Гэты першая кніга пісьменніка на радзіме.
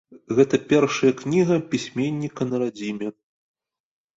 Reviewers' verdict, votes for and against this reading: accepted, 2, 0